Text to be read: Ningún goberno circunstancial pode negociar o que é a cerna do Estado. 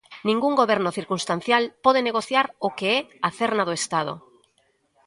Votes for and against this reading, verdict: 2, 0, accepted